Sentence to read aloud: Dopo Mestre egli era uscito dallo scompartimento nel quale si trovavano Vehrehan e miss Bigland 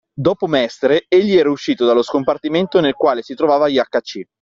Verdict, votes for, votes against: rejected, 0, 2